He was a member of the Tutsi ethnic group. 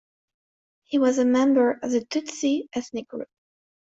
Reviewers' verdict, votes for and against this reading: accepted, 2, 1